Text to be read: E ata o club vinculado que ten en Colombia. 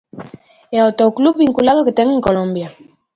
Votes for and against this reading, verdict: 2, 0, accepted